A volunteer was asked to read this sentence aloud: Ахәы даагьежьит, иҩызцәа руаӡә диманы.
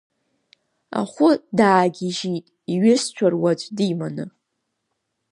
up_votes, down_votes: 2, 1